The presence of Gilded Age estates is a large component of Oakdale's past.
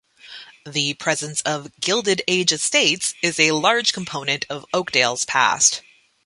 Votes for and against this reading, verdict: 2, 0, accepted